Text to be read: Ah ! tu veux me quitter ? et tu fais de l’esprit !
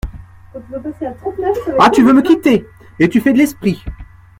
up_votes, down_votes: 0, 2